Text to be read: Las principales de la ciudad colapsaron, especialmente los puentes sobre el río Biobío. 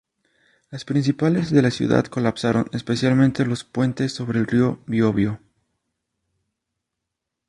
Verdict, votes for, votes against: rejected, 0, 2